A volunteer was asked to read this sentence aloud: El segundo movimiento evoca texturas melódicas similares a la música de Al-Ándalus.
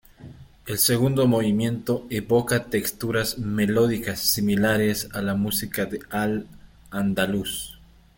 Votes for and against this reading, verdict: 1, 2, rejected